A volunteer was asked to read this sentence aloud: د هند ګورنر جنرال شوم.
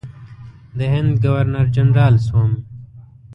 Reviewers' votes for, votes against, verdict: 1, 2, rejected